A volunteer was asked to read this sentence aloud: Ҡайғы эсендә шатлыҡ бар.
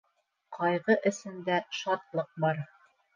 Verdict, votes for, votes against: accepted, 3, 0